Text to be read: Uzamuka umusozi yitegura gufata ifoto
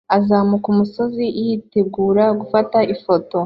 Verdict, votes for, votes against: accepted, 2, 0